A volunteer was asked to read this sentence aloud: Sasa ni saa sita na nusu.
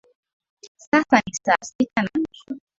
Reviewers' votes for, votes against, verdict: 0, 3, rejected